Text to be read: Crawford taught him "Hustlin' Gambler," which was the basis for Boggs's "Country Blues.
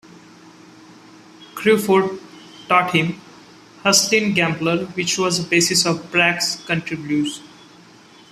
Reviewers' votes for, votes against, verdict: 0, 3, rejected